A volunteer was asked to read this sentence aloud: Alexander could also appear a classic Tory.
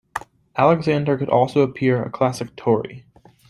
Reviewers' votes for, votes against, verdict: 2, 0, accepted